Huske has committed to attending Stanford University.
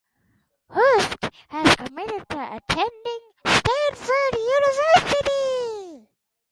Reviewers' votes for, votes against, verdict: 4, 0, accepted